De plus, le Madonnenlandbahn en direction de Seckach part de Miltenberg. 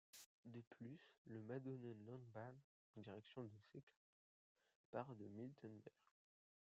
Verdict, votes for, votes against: rejected, 1, 2